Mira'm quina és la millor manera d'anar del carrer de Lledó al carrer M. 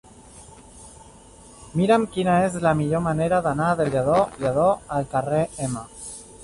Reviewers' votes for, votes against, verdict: 1, 2, rejected